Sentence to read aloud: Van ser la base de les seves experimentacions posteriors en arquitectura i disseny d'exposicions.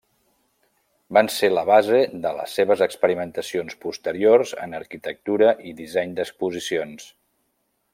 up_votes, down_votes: 3, 0